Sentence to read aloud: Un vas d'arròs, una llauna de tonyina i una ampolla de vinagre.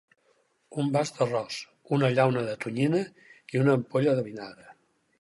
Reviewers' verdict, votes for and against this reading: accepted, 4, 0